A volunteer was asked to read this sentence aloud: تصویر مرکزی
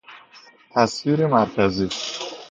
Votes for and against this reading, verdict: 2, 0, accepted